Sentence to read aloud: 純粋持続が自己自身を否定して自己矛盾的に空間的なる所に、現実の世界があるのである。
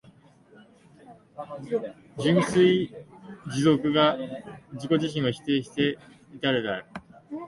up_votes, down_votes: 0, 3